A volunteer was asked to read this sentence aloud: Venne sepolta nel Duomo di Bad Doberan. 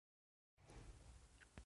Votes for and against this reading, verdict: 0, 2, rejected